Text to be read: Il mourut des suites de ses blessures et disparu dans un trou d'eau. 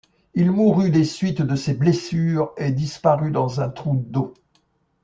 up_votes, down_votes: 2, 1